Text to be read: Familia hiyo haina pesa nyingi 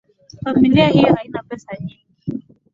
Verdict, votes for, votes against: accepted, 2, 0